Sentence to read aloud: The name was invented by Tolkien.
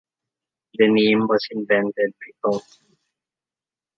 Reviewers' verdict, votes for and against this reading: rejected, 0, 2